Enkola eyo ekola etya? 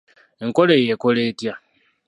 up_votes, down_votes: 2, 1